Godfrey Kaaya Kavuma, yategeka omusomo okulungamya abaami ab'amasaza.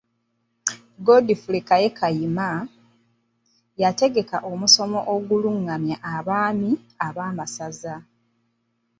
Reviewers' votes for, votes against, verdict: 0, 2, rejected